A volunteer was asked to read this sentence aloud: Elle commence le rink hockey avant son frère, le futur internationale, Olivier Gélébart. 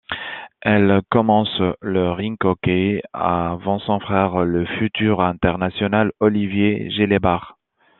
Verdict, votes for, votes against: accepted, 2, 0